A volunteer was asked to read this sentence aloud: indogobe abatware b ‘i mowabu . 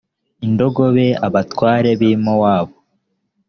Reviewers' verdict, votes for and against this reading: accepted, 2, 0